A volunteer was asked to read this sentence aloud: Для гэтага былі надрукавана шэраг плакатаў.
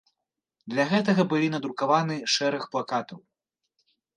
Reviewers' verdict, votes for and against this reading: rejected, 1, 2